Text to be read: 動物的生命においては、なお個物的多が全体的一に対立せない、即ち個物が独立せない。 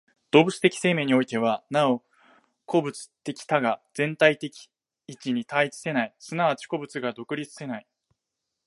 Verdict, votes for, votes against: rejected, 1, 2